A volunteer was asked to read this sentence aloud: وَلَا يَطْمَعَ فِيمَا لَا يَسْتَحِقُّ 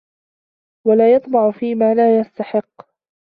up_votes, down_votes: 2, 1